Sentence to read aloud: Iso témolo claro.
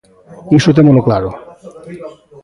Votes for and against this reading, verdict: 2, 1, accepted